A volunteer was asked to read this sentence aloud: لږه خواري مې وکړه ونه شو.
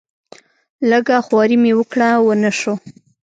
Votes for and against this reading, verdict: 2, 0, accepted